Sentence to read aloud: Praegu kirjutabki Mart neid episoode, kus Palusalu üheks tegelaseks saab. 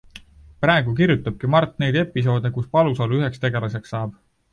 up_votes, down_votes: 2, 0